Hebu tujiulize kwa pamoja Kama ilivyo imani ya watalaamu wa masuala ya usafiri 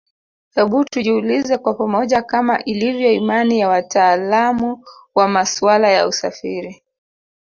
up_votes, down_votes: 1, 2